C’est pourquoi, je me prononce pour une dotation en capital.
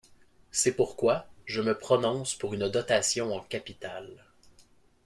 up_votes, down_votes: 0, 2